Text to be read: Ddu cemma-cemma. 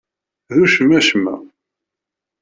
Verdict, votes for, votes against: rejected, 1, 2